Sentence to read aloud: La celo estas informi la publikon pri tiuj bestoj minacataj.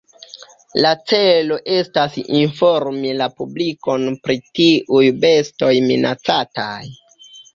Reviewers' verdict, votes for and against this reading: accepted, 2, 1